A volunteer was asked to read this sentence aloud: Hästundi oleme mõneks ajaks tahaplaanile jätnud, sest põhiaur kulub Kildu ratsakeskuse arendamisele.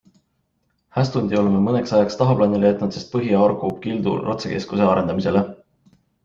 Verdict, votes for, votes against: accepted, 3, 0